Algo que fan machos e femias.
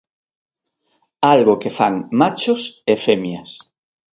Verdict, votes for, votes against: accepted, 2, 0